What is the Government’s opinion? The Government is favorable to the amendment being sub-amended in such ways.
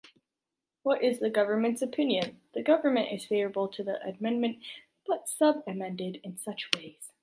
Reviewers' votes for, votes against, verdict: 1, 2, rejected